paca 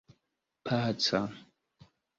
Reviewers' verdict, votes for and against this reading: accepted, 2, 0